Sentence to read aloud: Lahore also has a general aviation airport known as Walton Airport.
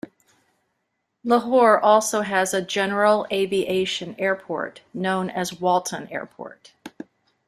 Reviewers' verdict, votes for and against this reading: accepted, 2, 0